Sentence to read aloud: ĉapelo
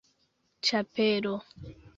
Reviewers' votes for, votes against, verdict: 2, 0, accepted